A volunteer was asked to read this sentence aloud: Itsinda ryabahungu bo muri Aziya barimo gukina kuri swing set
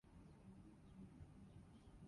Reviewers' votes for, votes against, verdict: 0, 2, rejected